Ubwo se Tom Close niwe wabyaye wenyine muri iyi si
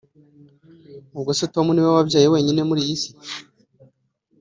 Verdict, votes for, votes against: rejected, 1, 2